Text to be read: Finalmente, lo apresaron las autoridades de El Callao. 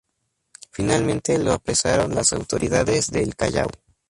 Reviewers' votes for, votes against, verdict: 0, 2, rejected